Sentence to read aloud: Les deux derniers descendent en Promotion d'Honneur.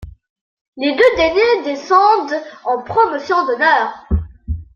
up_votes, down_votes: 2, 1